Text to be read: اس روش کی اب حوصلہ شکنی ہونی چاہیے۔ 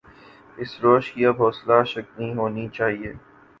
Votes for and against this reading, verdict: 0, 2, rejected